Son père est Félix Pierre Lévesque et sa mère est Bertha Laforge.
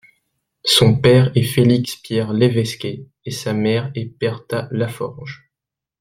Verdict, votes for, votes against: rejected, 0, 2